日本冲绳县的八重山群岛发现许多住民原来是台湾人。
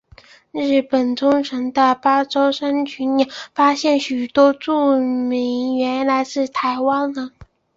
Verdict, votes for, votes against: accepted, 2, 1